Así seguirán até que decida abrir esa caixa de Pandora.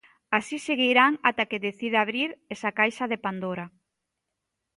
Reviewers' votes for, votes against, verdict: 2, 0, accepted